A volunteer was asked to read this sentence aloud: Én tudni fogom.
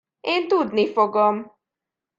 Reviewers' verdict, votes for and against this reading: accepted, 2, 0